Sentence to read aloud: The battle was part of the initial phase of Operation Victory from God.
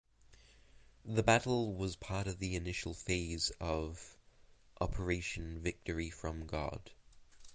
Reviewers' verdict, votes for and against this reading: accepted, 2, 0